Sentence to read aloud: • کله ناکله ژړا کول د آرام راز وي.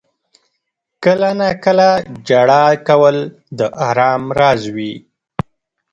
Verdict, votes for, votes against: rejected, 0, 2